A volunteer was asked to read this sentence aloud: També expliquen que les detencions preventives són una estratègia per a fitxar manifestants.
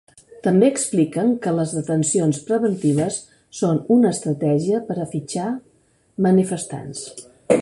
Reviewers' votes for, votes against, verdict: 2, 0, accepted